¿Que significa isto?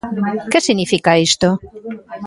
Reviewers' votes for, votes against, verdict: 2, 1, accepted